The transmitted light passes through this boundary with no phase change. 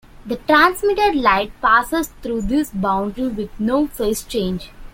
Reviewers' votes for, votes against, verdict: 2, 0, accepted